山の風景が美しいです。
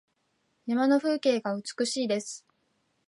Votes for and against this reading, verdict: 2, 0, accepted